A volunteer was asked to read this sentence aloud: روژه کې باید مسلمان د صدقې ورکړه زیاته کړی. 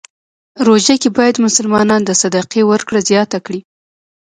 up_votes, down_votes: 1, 2